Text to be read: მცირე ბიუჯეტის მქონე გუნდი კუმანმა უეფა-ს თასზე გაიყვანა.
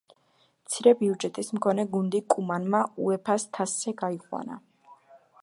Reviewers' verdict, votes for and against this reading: accepted, 2, 0